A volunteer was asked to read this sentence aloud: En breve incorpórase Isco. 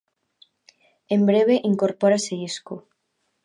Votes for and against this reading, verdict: 2, 0, accepted